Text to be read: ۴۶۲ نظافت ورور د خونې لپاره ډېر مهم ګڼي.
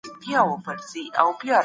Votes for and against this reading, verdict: 0, 2, rejected